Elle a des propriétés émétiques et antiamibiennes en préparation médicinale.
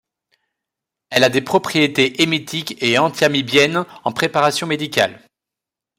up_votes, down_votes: 1, 2